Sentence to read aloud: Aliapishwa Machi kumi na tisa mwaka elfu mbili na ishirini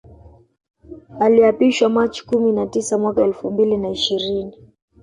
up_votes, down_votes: 0, 2